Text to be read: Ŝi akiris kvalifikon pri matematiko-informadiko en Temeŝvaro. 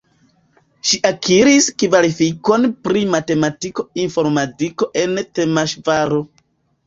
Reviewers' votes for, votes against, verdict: 1, 2, rejected